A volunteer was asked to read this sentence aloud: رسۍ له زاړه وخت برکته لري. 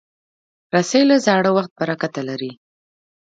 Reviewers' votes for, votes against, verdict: 2, 0, accepted